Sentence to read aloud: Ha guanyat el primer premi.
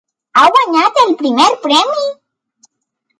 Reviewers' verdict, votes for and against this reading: accepted, 3, 0